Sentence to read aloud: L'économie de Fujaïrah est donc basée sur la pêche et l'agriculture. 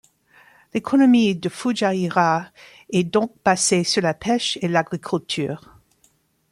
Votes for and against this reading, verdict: 1, 2, rejected